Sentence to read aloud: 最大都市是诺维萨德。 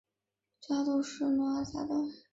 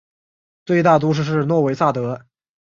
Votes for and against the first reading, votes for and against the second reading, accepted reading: 1, 2, 2, 0, second